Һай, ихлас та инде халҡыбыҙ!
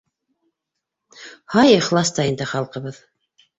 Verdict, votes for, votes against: accepted, 2, 0